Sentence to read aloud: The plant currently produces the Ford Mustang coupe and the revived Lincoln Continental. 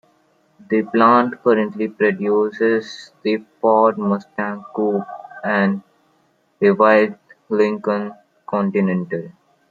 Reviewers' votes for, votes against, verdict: 2, 0, accepted